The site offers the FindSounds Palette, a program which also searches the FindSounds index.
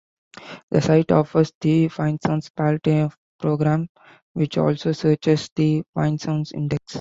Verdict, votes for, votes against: rejected, 0, 2